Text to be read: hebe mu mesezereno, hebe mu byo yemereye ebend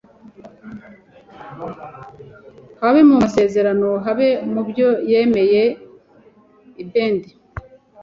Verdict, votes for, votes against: rejected, 0, 2